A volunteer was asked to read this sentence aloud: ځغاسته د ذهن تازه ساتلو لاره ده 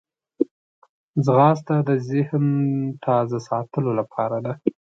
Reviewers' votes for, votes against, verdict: 2, 0, accepted